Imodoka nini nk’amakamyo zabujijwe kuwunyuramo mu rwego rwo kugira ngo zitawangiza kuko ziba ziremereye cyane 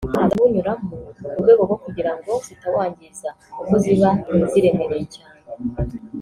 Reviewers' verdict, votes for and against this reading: rejected, 0, 2